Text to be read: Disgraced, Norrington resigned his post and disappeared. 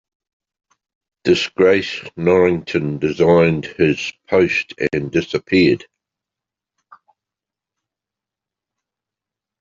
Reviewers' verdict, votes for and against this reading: rejected, 1, 2